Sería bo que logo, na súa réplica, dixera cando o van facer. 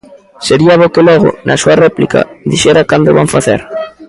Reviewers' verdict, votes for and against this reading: rejected, 1, 2